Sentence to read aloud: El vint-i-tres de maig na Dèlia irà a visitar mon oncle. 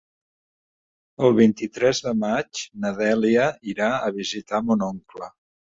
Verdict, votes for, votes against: accepted, 4, 0